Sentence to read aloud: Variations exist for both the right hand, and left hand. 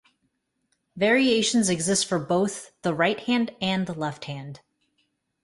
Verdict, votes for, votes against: accepted, 2, 0